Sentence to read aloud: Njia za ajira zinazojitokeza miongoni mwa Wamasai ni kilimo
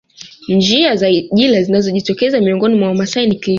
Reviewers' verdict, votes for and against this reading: rejected, 0, 2